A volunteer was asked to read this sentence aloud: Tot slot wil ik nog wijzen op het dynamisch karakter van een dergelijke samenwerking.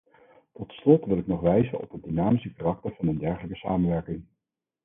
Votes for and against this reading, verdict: 2, 4, rejected